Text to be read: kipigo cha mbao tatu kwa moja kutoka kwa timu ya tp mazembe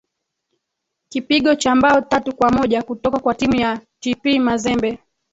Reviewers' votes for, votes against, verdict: 1, 3, rejected